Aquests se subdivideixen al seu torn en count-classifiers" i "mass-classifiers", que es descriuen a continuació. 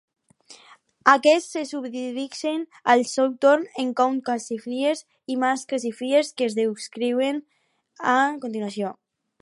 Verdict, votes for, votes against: accepted, 4, 2